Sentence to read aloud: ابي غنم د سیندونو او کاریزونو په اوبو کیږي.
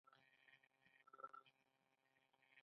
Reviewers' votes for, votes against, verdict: 2, 0, accepted